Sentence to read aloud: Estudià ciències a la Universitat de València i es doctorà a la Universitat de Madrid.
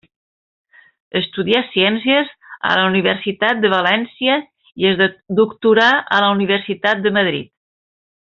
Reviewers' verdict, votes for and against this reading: rejected, 1, 2